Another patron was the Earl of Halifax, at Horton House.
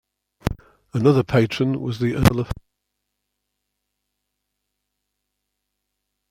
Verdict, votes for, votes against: rejected, 0, 2